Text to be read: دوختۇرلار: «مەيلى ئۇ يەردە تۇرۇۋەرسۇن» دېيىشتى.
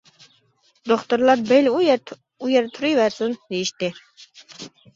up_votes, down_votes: 0, 2